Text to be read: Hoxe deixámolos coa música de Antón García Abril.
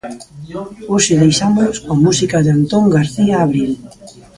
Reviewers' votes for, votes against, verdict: 0, 2, rejected